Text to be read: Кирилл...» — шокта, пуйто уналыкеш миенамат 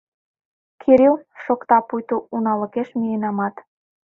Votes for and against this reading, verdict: 2, 0, accepted